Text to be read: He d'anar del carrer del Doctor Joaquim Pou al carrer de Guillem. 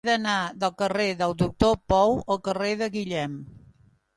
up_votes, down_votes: 0, 2